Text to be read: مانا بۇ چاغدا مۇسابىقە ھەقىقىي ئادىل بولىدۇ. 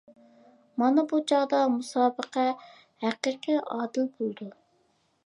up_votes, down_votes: 2, 0